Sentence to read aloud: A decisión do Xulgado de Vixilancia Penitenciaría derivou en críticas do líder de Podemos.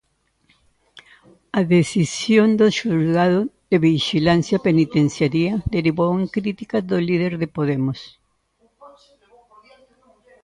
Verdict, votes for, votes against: rejected, 0, 2